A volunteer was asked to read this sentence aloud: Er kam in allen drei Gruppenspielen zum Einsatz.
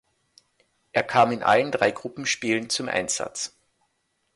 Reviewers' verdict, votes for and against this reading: accepted, 2, 0